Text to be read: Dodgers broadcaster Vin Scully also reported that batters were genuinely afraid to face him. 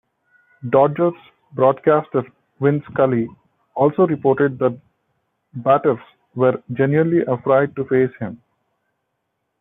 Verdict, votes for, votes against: rejected, 0, 3